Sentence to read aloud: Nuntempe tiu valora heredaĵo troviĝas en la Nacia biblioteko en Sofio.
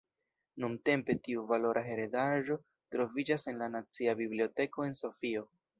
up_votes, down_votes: 1, 2